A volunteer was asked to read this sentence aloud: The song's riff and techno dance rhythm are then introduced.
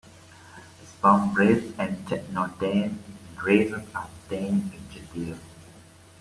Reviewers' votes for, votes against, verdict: 2, 1, accepted